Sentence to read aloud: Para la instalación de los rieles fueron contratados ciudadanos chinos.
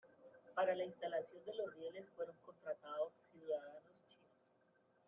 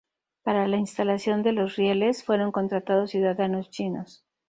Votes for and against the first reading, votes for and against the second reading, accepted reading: 0, 2, 2, 0, second